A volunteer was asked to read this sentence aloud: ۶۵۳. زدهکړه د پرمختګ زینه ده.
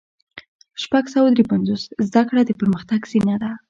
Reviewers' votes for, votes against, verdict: 0, 2, rejected